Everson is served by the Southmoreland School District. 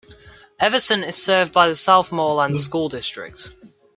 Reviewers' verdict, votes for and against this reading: accepted, 2, 0